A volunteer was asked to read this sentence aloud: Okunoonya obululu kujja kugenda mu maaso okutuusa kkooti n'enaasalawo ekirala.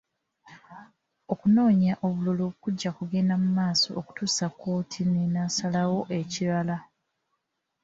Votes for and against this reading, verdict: 0, 2, rejected